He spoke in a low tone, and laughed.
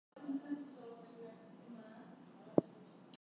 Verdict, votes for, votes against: rejected, 0, 4